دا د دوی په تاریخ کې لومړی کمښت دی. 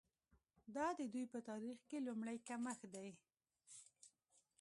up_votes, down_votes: 1, 2